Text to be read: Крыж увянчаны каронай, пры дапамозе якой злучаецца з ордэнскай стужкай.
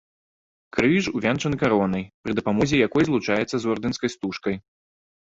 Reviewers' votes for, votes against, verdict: 0, 4, rejected